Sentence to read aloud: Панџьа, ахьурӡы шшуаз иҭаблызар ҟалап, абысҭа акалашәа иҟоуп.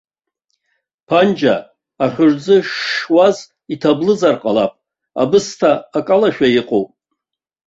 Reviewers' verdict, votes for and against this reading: accepted, 2, 0